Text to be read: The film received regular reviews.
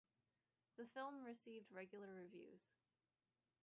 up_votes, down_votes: 0, 2